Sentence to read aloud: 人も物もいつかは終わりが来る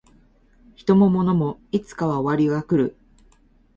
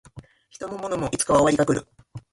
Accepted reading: first